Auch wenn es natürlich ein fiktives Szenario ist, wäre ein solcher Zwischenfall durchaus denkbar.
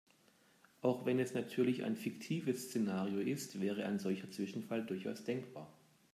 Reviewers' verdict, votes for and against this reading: accepted, 3, 0